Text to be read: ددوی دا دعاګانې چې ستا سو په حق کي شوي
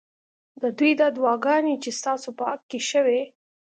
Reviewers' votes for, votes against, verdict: 2, 0, accepted